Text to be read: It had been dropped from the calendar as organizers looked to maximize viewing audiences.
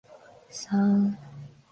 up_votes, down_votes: 0, 2